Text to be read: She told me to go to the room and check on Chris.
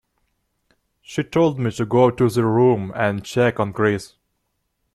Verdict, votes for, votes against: accepted, 2, 0